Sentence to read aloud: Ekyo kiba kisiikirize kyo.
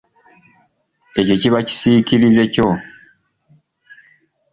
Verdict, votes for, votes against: accepted, 2, 0